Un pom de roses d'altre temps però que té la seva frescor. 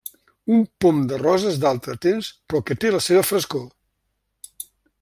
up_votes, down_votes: 1, 2